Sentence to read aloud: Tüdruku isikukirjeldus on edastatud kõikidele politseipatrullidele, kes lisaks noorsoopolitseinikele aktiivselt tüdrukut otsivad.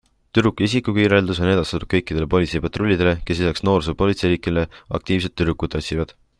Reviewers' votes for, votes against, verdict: 2, 0, accepted